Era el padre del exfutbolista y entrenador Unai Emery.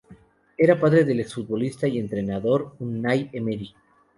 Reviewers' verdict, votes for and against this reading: accepted, 2, 0